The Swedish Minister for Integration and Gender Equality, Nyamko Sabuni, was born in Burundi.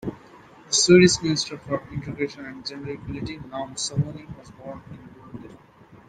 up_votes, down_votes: 2, 0